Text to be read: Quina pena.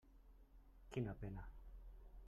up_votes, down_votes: 3, 1